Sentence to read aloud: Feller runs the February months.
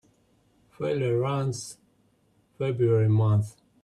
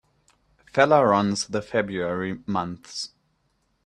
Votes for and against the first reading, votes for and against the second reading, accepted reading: 0, 3, 2, 0, second